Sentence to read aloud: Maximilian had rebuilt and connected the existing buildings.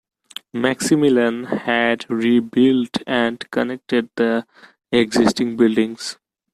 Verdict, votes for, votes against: accepted, 2, 0